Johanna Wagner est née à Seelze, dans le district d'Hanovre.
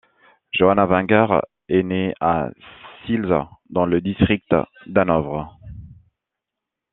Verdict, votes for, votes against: rejected, 0, 2